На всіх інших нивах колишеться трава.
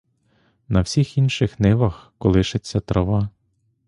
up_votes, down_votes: 2, 0